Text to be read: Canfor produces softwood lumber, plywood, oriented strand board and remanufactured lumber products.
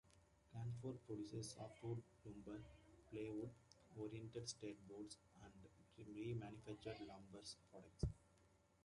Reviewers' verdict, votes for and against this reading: accepted, 2, 1